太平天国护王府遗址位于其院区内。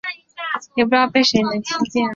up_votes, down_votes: 0, 6